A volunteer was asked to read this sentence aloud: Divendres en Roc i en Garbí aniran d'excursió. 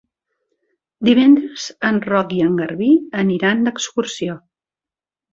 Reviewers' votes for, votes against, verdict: 3, 0, accepted